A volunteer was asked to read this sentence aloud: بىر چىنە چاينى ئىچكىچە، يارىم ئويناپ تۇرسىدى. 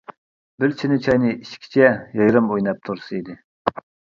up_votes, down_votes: 0, 2